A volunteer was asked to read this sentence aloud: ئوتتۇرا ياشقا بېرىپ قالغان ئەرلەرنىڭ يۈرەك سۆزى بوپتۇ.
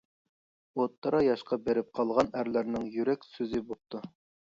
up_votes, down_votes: 3, 0